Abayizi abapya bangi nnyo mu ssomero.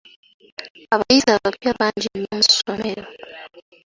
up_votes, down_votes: 2, 1